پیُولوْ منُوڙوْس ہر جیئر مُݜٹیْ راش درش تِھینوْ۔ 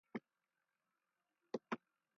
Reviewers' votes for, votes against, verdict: 0, 2, rejected